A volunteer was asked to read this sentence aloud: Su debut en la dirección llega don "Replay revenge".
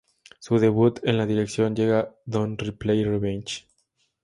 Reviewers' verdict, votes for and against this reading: accepted, 2, 0